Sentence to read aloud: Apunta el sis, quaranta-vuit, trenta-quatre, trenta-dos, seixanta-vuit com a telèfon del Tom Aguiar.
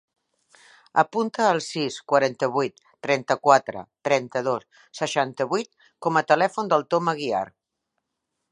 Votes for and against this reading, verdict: 3, 0, accepted